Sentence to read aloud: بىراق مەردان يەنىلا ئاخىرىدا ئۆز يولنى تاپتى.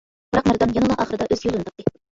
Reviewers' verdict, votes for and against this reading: rejected, 0, 2